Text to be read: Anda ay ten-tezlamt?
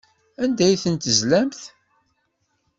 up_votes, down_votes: 2, 0